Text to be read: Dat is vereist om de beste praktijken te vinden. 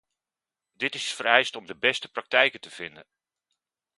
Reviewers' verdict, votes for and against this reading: rejected, 1, 2